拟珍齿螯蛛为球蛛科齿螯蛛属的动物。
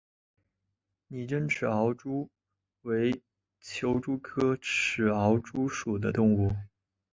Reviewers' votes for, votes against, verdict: 2, 1, accepted